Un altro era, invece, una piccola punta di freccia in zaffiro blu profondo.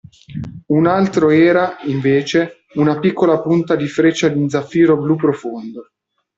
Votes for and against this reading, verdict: 2, 1, accepted